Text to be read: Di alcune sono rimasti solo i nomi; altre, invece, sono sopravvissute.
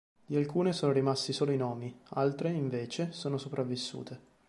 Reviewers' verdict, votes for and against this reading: accepted, 3, 0